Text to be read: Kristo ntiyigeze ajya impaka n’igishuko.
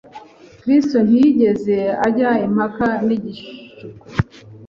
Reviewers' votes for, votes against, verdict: 3, 0, accepted